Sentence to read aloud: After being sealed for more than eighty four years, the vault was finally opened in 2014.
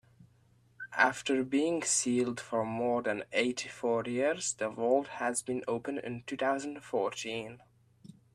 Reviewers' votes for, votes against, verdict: 0, 2, rejected